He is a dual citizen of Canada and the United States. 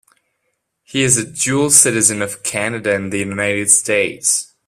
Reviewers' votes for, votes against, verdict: 2, 0, accepted